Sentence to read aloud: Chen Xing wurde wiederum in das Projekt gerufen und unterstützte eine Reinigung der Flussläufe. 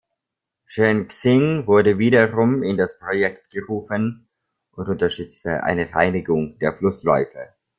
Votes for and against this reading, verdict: 2, 0, accepted